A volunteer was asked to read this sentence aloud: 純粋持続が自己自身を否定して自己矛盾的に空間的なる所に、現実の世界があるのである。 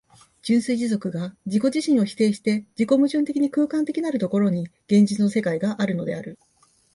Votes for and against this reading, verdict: 2, 0, accepted